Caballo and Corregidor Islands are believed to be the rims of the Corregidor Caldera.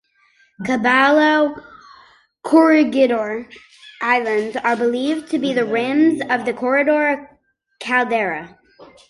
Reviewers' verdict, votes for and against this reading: rejected, 0, 2